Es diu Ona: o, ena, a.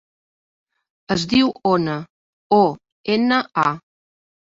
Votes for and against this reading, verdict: 3, 0, accepted